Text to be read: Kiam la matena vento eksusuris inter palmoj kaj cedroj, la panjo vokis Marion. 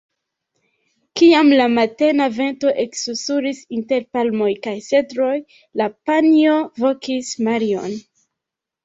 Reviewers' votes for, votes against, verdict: 1, 2, rejected